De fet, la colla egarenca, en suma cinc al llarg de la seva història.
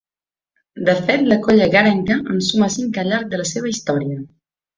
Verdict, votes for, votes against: accepted, 5, 0